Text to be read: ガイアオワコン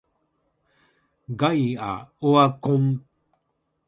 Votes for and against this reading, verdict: 2, 1, accepted